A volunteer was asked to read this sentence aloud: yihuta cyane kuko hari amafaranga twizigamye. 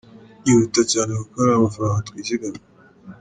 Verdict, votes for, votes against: rejected, 1, 2